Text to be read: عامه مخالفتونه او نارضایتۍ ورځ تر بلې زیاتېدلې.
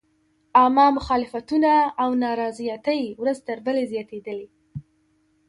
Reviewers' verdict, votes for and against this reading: accepted, 2, 0